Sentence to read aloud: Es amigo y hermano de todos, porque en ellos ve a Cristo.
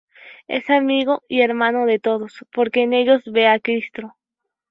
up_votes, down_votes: 2, 0